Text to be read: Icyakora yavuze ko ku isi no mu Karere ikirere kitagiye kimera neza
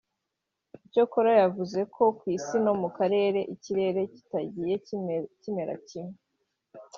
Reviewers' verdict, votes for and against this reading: rejected, 1, 3